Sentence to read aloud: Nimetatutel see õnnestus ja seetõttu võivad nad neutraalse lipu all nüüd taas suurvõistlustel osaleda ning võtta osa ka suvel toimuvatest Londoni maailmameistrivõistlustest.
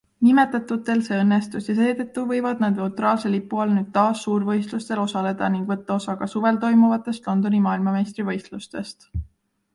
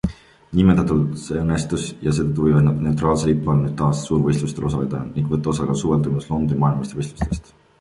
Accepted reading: first